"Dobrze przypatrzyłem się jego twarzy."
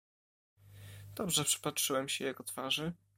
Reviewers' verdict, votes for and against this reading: accepted, 2, 0